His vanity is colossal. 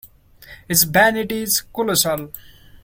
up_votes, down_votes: 2, 0